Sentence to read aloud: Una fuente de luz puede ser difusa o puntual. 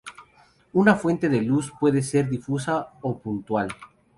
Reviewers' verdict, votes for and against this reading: accepted, 2, 0